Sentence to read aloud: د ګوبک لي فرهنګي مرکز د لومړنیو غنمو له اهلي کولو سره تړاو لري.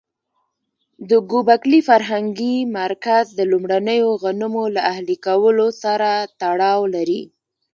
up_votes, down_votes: 2, 0